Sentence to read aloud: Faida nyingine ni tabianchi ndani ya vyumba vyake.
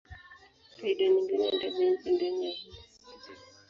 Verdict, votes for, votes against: rejected, 0, 5